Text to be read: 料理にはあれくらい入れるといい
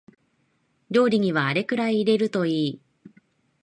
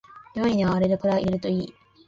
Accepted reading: first